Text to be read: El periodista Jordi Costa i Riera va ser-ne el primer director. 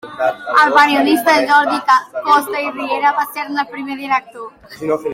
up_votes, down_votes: 0, 2